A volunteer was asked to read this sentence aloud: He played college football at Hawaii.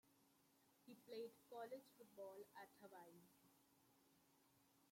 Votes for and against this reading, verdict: 1, 2, rejected